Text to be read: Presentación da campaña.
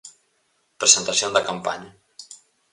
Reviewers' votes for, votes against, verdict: 4, 0, accepted